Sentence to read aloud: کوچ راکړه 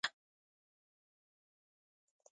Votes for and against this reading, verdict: 0, 2, rejected